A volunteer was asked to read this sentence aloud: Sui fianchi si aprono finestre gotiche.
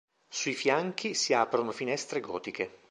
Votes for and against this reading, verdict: 2, 0, accepted